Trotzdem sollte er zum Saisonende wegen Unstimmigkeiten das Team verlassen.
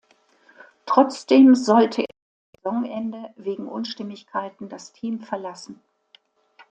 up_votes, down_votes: 1, 2